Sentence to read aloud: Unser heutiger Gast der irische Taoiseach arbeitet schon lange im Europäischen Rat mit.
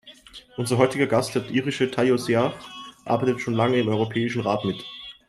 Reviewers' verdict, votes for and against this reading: rejected, 0, 2